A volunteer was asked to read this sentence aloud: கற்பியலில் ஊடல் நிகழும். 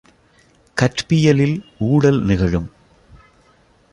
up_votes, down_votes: 2, 3